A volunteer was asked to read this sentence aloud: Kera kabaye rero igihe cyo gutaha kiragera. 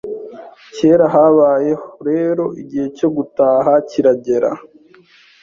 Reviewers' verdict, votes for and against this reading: rejected, 0, 2